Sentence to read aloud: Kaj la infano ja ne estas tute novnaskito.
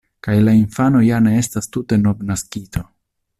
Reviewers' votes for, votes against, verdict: 2, 0, accepted